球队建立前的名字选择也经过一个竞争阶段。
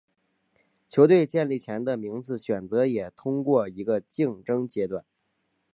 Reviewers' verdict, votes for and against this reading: rejected, 0, 2